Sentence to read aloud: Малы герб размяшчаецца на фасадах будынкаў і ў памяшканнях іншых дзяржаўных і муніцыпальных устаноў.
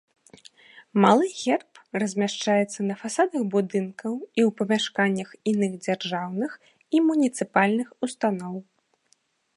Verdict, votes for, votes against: rejected, 0, 2